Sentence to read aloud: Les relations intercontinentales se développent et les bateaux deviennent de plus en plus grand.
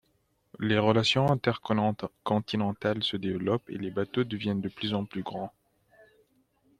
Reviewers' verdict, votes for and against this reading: rejected, 1, 2